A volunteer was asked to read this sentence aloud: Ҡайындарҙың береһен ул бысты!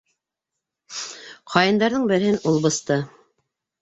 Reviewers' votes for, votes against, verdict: 2, 1, accepted